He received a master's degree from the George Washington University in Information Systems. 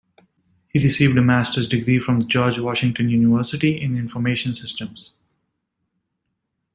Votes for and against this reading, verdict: 2, 1, accepted